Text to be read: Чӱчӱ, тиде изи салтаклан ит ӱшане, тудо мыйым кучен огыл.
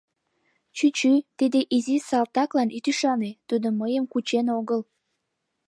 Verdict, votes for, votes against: accepted, 2, 1